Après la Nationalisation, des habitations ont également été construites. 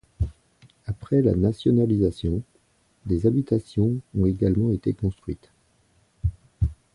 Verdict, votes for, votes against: rejected, 1, 2